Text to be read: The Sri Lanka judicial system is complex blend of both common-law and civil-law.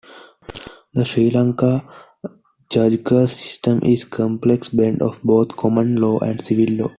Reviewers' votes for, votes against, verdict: 0, 2, rejected